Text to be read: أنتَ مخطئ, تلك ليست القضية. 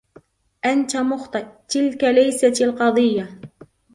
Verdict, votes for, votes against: accepted, 2, 1